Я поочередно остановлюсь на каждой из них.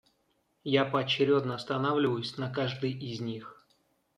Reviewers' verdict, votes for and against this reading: rejected, 0, 2